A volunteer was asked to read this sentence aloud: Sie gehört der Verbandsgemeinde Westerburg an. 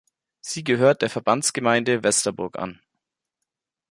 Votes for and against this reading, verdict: 3, 0, accepted